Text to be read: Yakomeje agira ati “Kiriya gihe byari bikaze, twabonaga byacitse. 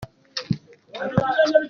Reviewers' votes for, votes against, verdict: 0, 2, rejected